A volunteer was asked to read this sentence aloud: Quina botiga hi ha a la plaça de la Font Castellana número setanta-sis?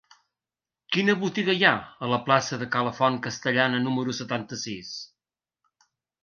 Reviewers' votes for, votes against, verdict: 1, 2, rejected